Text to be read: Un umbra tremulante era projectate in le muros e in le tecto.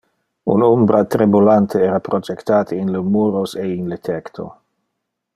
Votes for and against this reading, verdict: 2, 1, accepted